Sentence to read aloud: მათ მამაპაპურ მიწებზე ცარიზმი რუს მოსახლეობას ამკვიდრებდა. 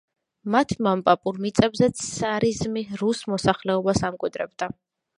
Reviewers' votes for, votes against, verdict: 1, 2, rejected